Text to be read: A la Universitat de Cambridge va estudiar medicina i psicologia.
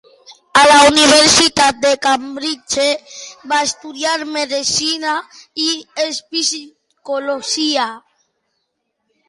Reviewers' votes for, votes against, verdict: 1, 2, rejected